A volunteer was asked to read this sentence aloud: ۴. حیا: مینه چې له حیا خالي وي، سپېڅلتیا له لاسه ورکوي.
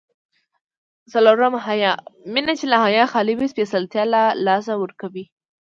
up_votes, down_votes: 0, 2